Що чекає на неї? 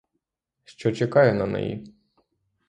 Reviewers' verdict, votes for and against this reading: accepted, 3, 0